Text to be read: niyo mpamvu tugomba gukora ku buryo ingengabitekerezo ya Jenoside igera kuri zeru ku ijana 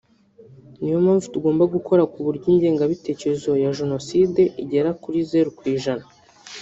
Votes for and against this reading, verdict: 1, 2, rejected